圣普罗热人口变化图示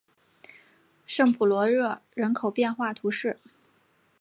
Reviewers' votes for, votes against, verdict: 5, 0, accepted